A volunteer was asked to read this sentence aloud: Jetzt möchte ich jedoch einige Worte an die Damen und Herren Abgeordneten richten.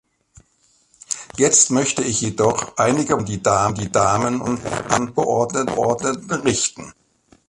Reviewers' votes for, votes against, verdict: 0, 2, rejected